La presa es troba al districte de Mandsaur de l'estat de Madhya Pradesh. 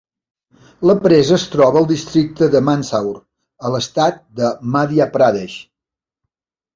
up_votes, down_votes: 1, 2